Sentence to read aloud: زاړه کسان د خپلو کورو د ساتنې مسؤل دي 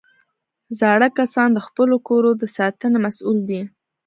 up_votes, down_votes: 2, 1